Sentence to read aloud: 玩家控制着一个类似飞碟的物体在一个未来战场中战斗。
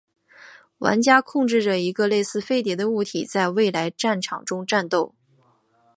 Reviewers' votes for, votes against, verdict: 4, 1, accepted